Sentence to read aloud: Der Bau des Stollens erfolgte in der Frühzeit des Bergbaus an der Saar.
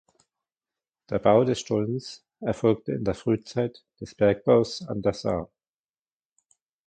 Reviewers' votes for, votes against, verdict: 2, 0, accepted